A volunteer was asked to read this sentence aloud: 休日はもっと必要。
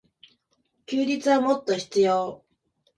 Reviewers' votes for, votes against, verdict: 2, 0, accepted